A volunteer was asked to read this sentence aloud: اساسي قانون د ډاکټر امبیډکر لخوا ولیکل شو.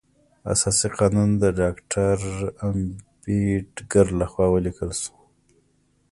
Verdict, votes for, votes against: accepted, 2, 1